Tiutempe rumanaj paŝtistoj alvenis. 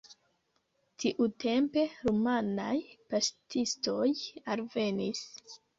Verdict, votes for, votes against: rejected, 1, 2